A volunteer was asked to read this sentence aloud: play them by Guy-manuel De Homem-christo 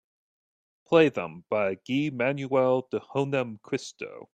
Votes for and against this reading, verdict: 2, 0, accepted